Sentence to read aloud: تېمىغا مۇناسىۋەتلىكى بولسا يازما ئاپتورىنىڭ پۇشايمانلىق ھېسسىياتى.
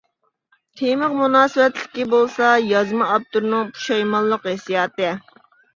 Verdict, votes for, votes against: rejected, 1, 2